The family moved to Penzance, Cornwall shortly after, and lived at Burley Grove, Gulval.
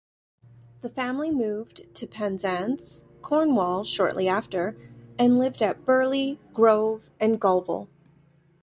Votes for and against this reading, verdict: 1, 2, rejected